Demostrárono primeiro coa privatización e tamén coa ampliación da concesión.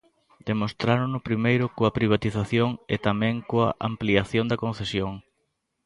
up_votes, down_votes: 2, 0